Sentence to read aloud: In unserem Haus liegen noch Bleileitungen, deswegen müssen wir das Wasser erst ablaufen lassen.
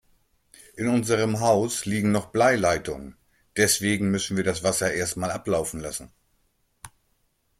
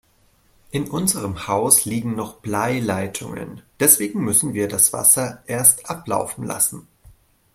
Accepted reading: second